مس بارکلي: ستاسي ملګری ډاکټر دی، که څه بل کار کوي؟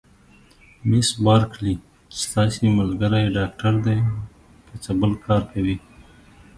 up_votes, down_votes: 2, 1